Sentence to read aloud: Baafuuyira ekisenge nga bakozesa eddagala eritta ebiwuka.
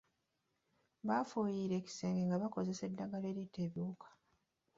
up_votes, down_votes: 2, 1